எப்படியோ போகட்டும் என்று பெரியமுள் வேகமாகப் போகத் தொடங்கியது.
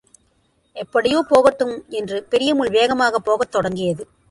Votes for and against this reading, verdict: 2, 0, accepted